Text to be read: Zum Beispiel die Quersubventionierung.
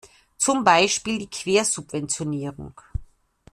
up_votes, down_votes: 2, 0